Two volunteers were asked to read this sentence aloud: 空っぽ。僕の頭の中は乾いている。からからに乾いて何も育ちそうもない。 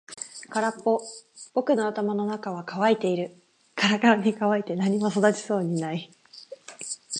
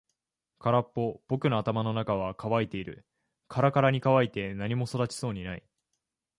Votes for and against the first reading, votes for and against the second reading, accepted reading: 4, 0, 0, 2, first